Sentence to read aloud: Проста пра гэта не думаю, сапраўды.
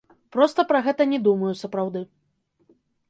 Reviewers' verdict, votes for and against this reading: accepted, 2, 0